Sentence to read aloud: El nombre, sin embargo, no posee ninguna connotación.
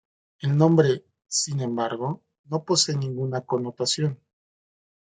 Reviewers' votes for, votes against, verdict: 2, 0, accepted